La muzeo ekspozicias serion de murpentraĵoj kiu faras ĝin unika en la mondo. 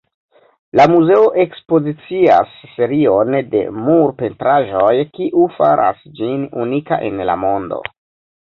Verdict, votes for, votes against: rejected, 1, 2